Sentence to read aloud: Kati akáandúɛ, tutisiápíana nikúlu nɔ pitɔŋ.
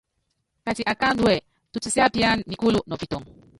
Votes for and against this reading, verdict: 0, 2, rejected